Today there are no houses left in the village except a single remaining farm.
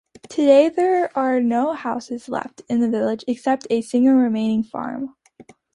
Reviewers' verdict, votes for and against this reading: accepted, 2, 0